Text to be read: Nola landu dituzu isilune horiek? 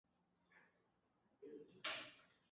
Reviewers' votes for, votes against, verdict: 0, 2, rejected